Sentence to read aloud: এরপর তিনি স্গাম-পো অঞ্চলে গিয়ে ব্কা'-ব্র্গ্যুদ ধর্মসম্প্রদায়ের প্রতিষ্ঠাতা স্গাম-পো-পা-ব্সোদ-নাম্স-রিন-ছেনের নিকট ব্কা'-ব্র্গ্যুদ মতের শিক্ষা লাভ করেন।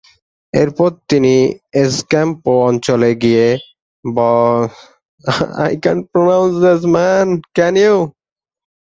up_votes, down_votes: 0, 4